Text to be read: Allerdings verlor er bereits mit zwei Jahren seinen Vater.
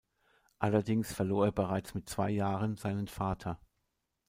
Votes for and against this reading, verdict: 2, 0, accepted